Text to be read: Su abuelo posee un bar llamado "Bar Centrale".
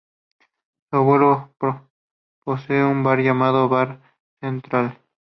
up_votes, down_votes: 2, 2